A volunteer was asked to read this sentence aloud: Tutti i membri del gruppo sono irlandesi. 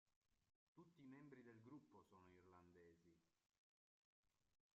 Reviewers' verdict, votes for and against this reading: rejected, 0, 5